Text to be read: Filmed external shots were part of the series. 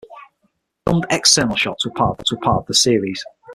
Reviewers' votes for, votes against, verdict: 3, 6, rejected